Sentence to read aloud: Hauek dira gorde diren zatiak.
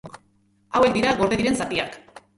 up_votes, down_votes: 2, 0